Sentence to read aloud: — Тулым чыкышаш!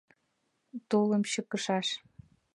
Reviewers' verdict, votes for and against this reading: accepted, 2, 0